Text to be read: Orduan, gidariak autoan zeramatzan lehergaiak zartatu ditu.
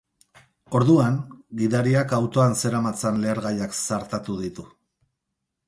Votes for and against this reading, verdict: 2, 0, accepted